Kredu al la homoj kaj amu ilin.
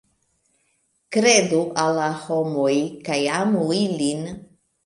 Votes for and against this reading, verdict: 2, 1, accepted